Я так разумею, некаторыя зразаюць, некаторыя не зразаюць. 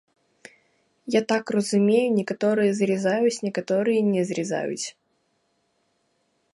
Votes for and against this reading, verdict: 0, 2, rejected